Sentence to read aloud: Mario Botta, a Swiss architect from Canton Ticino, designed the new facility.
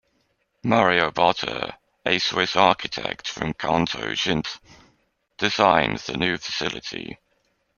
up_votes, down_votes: 1, 2